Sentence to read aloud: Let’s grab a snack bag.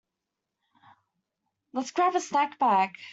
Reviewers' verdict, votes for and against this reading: rejected, 1, 2